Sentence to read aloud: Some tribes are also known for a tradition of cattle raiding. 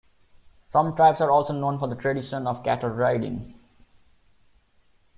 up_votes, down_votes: 1, 2